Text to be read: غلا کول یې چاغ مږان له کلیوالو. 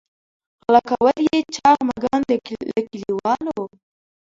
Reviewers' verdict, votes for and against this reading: rejected, 1, 2